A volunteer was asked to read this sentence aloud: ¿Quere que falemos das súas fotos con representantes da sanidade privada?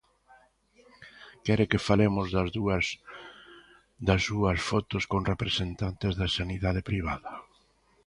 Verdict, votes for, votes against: rejected, 0, 2